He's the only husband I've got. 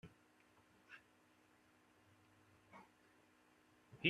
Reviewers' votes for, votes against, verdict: 0, 2, rejected